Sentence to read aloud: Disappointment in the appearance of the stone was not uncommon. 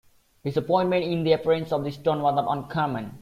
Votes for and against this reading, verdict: 1, 2, rejected